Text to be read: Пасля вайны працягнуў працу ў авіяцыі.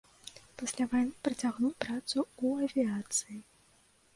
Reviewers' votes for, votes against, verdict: 1, 2, rejected